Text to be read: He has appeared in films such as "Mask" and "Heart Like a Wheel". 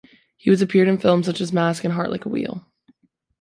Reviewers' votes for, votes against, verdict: 2, 0, accepted